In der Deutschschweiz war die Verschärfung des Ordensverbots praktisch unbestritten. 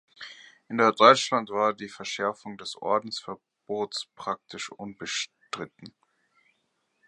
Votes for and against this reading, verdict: 0, 2, rejected